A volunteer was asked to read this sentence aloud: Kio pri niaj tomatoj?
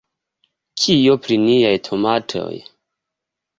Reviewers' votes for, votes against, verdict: 2, 0, accepted